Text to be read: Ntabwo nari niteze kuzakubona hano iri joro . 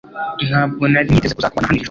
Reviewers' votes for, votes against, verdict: 1, 2, rejected